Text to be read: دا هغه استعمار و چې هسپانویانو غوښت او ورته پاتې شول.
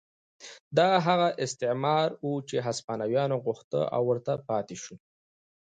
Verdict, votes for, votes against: accepted, 2, 0